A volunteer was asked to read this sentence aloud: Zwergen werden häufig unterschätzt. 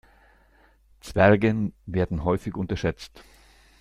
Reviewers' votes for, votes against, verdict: 2, 0, accepted